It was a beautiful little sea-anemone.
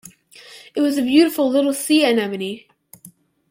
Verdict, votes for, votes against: accepted, 2, 0